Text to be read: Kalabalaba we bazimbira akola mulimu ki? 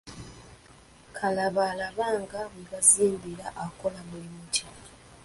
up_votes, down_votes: 0, 2